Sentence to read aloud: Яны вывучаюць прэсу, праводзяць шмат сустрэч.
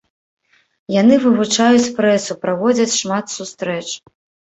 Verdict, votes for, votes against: accepted, 2, 0